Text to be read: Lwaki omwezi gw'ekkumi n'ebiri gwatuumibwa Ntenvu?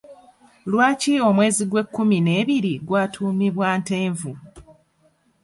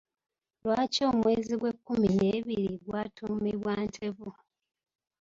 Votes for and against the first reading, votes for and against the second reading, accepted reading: 2, 1, 1, 2, first